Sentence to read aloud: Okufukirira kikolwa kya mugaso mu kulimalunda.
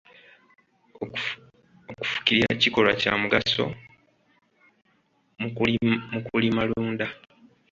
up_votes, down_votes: 0, 2